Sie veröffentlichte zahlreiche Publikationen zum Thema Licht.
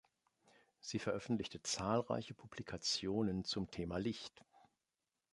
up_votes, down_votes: 2, 0